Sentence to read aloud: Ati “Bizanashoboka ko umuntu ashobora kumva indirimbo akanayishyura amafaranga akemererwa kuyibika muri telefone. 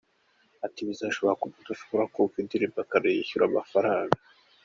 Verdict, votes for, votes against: rejected, 0, 2